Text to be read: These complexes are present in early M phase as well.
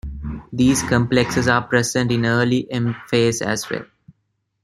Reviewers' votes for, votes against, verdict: 2, 0, accepted